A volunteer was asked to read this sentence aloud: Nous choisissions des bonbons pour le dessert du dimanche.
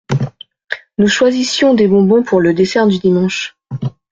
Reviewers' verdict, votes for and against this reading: accepted, 2, 0